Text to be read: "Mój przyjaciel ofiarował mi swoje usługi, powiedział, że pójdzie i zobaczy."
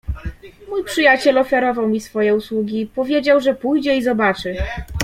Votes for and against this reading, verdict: 2, 0, accepted